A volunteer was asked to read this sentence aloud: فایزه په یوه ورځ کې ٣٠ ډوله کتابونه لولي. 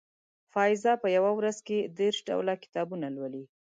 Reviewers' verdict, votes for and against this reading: rejected, 0, 2